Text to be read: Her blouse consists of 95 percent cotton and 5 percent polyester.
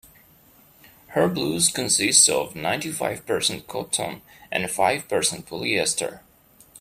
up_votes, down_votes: 0, 2